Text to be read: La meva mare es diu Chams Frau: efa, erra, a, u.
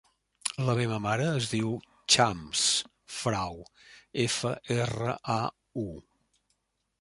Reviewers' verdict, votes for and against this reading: accepted, 3, 0